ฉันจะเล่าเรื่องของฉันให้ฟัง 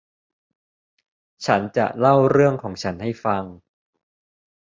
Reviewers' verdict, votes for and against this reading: accepted, 2, 0